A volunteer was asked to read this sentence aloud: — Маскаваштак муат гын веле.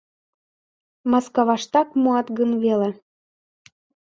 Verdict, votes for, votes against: accepted, 2, 0